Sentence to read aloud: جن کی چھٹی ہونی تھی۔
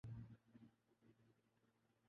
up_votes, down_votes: 0, 10